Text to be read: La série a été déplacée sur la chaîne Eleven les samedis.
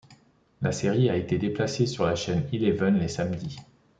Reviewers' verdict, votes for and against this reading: accepted, 2, 0